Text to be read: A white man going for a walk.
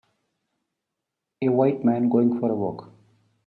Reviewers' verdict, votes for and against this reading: accepted, 2, 0